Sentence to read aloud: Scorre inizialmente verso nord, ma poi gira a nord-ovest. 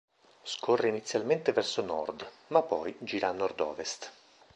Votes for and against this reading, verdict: 2, 0, accepted